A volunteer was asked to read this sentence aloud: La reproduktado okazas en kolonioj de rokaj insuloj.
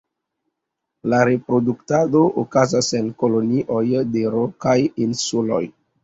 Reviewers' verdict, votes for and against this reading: accepted, 3, 0